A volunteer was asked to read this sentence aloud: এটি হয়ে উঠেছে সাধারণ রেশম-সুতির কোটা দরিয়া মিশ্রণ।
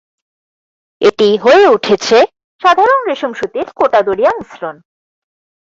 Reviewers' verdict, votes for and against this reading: accepted, 4, 2